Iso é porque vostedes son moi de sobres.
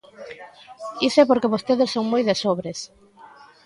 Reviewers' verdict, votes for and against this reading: accepted, 2, 0